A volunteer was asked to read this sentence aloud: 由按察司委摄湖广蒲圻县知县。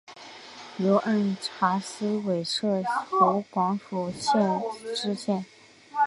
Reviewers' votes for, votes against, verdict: 1, 2, rejected